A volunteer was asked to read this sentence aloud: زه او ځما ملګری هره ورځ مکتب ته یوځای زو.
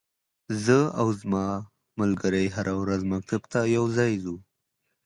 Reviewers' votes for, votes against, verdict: 2, 0, accepted